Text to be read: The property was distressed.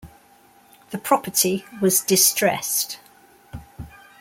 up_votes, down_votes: 2, 0